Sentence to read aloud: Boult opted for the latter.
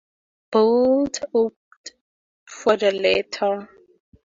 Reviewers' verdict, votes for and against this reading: rejected, 2, 4